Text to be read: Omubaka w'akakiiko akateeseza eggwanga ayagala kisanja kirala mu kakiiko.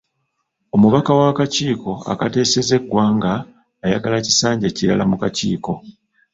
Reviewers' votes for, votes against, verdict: 2, 1, accepted